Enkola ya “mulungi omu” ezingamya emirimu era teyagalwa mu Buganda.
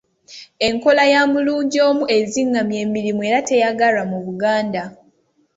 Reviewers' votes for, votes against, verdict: 2, 0, accepted